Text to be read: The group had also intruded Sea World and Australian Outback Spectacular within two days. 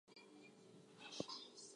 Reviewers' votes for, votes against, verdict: 0, 4, rejected